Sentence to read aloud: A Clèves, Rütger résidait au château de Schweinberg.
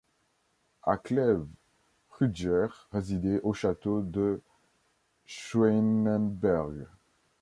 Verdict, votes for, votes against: rejected, 0, 2